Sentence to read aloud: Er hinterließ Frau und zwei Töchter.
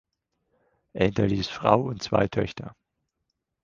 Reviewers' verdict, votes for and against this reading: accepted, 4, 0